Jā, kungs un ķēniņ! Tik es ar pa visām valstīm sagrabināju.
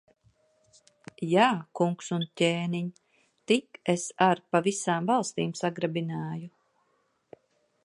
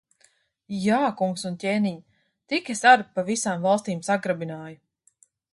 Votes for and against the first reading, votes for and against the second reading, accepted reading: 1, 2, 3, 0, second